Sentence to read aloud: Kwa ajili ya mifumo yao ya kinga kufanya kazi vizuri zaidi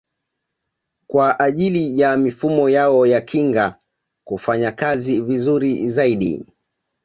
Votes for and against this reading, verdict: 1, 2, rejected